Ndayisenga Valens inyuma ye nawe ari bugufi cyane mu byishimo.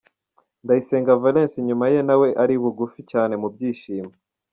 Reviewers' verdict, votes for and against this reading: accepted, 2, 0